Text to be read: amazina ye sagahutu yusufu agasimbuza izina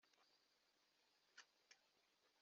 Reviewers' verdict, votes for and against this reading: rejected, 0, 2